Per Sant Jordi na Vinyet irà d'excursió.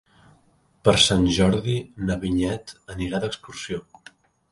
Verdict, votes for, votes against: rejected, 0, 2